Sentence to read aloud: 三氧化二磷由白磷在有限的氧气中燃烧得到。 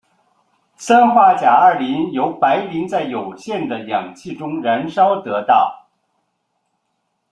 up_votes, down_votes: 2, 1